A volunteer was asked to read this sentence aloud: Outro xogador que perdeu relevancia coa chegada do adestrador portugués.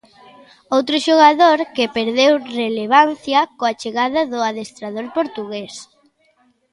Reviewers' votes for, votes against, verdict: 2, 0, accepted